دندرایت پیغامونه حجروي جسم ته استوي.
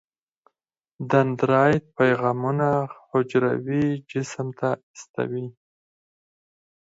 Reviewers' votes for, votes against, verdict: 4, 0, accepted